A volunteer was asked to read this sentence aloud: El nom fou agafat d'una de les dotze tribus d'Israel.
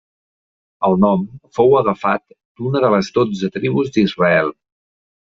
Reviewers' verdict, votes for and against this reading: accepted, 3, 0